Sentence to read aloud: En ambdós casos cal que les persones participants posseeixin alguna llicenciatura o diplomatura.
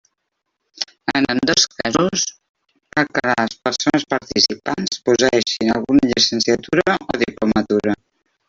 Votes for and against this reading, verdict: 0, 2, rejected